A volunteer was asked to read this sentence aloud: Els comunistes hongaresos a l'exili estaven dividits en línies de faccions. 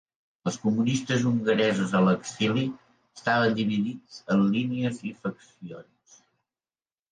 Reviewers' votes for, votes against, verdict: 0, 2, rejected